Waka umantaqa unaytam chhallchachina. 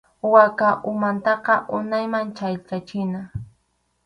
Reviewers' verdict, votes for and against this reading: rejected, 2, 2